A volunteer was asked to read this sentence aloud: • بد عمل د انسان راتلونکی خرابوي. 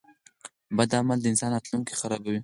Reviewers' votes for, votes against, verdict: 4, 2, accepted